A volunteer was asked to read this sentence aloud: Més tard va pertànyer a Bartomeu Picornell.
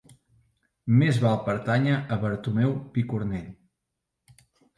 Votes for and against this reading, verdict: 0, 4, rejected